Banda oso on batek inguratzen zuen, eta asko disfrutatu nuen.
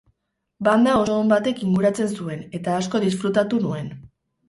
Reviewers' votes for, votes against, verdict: 2, 2, rejected